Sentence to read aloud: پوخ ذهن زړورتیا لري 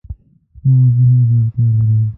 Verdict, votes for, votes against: rejected, 0, 2